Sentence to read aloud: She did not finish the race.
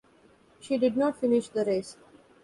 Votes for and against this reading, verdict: 2, 0, accepted